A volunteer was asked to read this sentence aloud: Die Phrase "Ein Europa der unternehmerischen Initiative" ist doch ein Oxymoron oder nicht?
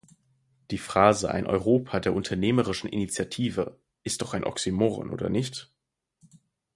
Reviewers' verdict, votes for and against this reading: rejected, 2, 4